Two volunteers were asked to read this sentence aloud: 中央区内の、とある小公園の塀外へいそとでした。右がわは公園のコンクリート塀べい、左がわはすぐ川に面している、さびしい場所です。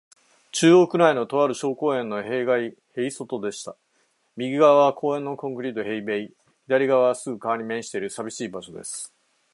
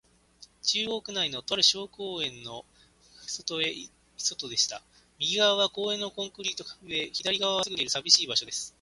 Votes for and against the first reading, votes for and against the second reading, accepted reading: 6, 0, 0, 3, first